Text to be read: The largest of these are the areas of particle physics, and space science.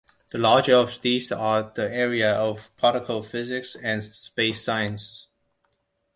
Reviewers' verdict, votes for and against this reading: rejected, 0, 2